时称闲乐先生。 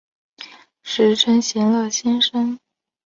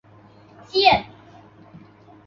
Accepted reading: first